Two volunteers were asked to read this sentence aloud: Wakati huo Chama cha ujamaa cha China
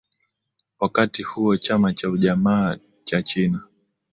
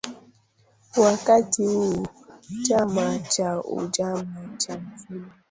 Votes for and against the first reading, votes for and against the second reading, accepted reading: 2, 0, 0, 2, first